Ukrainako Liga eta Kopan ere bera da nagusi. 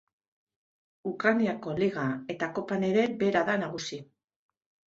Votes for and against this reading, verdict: 2, 0, accepted